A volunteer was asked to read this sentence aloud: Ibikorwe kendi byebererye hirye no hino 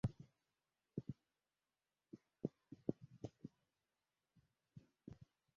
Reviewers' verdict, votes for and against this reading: rejected, 0, 2